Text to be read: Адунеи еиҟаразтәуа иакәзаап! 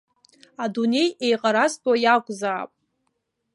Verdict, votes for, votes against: accepted, 2, 0